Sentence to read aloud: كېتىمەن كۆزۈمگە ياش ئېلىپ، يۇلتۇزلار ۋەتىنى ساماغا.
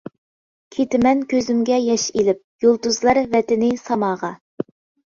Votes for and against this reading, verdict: 2, 0, accepted